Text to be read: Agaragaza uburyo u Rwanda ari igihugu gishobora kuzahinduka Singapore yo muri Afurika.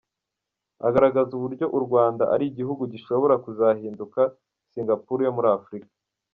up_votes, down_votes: 0, 2